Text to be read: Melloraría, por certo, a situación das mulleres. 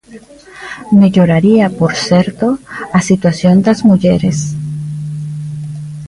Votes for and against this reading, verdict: 0, 2, rejected